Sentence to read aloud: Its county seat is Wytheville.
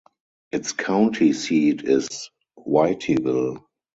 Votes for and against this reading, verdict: 2, 4, rejected